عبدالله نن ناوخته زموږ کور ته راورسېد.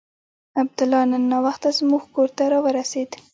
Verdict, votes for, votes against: rejected, 0, 2